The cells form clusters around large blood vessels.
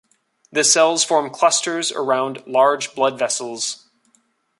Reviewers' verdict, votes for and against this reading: accepted, 2, 0